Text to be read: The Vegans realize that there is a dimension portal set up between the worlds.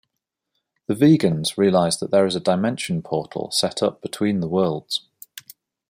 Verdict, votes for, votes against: accepted, 2, 0